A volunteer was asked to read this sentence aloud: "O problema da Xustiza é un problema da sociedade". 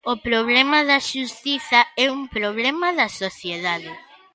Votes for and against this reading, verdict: 1, 2, rejected